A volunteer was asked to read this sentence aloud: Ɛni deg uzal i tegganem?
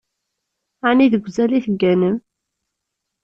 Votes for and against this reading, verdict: 2, 0, accepted